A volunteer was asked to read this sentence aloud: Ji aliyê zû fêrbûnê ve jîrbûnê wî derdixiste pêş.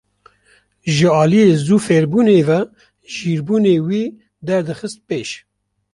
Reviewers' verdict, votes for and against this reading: accepted, 2, 0